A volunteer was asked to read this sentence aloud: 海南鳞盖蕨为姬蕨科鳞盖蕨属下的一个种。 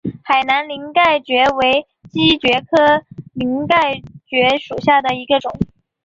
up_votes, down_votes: 3, 0